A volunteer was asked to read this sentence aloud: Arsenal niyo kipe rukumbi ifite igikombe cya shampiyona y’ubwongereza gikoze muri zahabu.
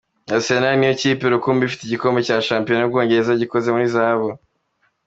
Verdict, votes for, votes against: accepted, 2, 0